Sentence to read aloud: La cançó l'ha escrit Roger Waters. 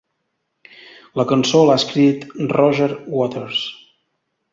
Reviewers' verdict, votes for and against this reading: accepted, 2, 0